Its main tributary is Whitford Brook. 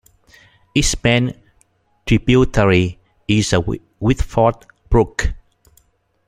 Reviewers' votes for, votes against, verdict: 1, 2, rejected